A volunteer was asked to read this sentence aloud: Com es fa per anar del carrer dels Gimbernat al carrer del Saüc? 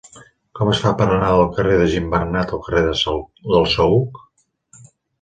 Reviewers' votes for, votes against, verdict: 0, 3, rejected